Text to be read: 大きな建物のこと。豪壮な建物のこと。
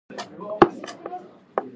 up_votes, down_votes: 1, 2